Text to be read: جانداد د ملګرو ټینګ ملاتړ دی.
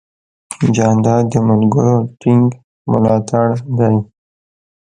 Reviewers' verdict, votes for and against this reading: accepted, 2, 0